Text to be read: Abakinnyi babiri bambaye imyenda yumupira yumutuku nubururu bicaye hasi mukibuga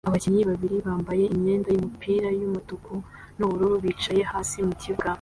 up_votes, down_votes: 2, 0